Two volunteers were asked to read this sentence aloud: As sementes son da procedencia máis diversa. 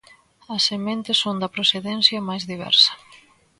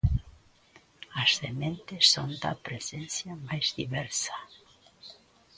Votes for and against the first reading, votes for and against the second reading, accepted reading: 2, 0, 0, 2, first